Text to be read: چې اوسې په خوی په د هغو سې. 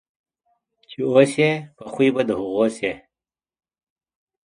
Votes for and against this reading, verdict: 2, 0, accepted